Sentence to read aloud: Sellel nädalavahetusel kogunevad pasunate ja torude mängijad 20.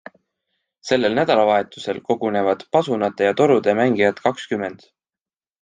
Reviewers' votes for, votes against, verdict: 0, 2, rejected